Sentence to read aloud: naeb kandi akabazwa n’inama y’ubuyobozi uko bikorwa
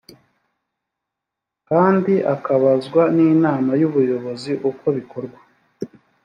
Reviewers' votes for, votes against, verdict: 2, 3, rejected